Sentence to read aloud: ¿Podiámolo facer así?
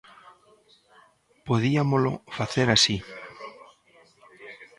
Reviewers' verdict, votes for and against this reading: rejected, 0, 2